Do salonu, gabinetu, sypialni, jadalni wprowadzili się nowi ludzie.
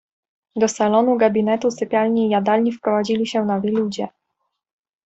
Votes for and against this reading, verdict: 2, 0, accepted